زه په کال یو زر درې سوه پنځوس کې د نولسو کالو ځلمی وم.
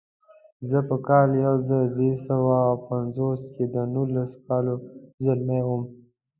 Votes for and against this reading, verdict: 2, 0, accepted